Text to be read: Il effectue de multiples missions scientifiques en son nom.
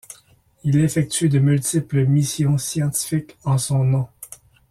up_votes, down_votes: 2, 0